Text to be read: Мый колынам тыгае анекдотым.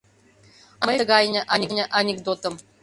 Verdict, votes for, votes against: rejected, 0, 2